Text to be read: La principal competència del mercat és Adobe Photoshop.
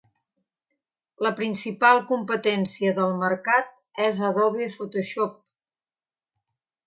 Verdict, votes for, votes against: accepted, 2, 1